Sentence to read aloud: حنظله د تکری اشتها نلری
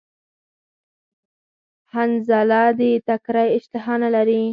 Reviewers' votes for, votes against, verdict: 4, 0, accepted